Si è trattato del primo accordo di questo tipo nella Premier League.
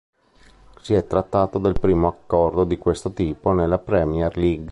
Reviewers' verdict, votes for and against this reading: accepted, 2, 1